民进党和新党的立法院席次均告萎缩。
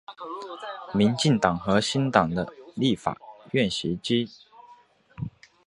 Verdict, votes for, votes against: rejected, 0, 2